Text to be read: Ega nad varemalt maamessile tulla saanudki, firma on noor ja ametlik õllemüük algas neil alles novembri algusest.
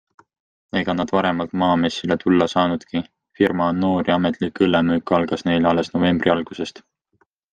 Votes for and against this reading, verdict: 2, 0, accepted